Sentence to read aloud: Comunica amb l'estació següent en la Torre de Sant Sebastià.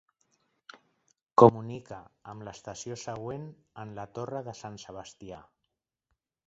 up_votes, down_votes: 1, 2